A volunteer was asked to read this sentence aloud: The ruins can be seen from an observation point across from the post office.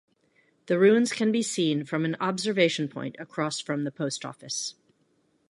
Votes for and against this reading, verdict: 2, 0, accepted